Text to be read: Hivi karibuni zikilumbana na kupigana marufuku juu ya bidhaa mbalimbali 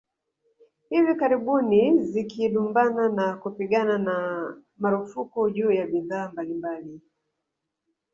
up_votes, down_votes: 2, 3